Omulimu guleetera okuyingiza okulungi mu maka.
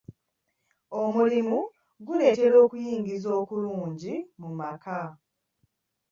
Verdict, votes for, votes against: accepted, 2, 1